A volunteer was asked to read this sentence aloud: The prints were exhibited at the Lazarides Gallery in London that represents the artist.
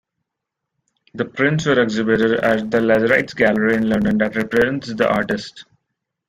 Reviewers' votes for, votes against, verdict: 0, 2, rejected